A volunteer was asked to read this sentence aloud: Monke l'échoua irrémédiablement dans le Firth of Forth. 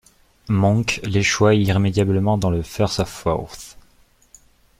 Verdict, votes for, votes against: accepted, 2, 0